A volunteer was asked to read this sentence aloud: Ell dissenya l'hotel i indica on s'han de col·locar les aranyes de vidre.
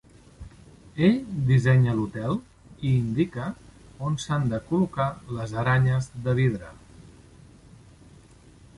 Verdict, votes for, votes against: rejected, 1, 2